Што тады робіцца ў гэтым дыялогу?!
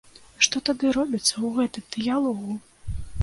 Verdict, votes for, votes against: accepted, 2, 0